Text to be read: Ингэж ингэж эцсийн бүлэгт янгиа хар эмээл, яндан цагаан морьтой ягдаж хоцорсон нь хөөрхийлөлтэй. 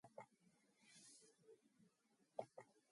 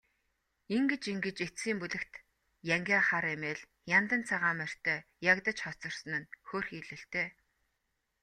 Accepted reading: second